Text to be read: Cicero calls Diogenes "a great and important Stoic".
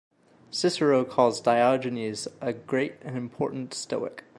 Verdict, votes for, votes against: accepted, 2, 0